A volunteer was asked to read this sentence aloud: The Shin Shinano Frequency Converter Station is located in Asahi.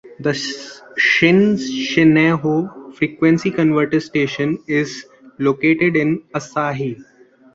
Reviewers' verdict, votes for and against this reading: rejected, 0, 2